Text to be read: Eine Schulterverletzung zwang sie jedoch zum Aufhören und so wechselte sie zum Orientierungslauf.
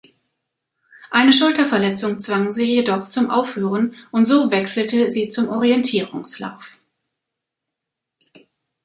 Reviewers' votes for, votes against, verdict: 2, 1, accepted